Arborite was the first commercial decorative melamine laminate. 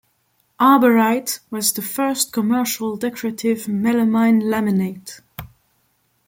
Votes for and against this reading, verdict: 2, 0, accepted